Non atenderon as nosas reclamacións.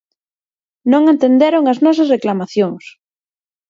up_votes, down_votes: 0, 4